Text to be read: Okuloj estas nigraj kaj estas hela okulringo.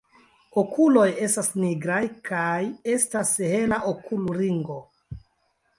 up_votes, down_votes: 0, 2